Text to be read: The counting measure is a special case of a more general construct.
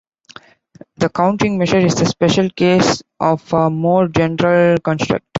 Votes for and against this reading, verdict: 2, 1, accepted